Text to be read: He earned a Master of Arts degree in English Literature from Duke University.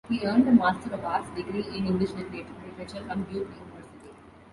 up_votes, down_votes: 1, 2